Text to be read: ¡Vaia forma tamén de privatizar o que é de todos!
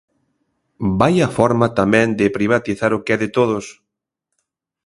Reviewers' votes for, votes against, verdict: 2, 0, accepted